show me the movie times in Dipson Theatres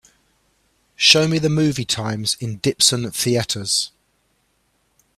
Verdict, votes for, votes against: accepted, 3, 0